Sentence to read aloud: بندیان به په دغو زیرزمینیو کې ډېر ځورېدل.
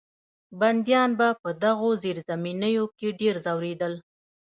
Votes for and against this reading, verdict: 1, 2, rejected